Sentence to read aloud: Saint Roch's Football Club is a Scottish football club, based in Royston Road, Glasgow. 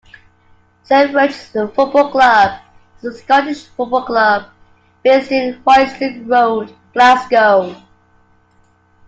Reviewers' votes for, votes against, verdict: 2, 0, accepted